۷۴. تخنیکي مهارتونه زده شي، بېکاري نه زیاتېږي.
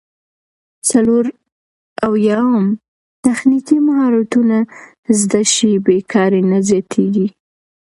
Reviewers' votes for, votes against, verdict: 0, 2, rejected